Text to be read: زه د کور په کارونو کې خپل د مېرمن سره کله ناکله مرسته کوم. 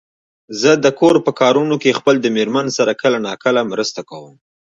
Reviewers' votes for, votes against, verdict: 2, 0, accepted